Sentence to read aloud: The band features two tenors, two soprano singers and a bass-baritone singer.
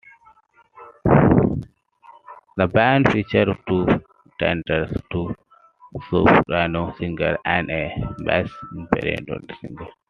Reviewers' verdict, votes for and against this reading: rejected, 0, 2